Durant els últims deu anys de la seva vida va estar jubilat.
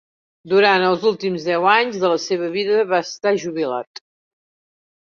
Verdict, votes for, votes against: accepted, 3, 0